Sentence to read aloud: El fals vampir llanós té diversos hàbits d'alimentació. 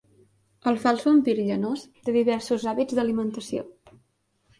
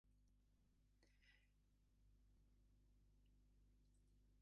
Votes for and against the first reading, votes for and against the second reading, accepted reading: 2, 0, 0, 2, first